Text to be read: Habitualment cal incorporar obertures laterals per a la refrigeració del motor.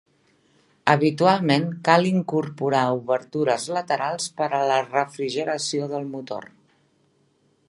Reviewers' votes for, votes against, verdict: 2, 0, accepted